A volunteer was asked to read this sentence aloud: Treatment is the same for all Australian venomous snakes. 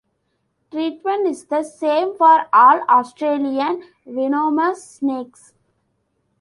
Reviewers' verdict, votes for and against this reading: accepted, 2, 0